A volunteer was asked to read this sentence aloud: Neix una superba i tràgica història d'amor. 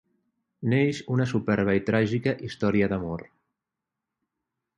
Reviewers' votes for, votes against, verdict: 0, 3, rejected